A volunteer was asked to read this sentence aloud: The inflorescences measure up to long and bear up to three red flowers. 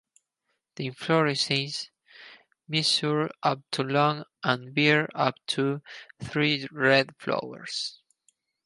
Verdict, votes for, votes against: accepted, 4, 2